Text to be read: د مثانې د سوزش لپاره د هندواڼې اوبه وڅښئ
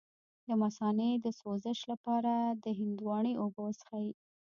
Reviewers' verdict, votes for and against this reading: rejected, 1, 2